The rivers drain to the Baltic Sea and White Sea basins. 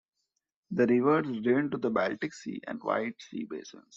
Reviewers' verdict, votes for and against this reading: rejected, 1, 2